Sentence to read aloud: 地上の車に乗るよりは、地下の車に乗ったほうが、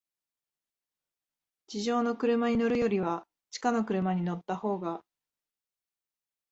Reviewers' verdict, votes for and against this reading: accepted, 2, 0